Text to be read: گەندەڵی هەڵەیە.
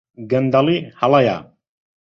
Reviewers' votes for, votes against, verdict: 2, 0, accepted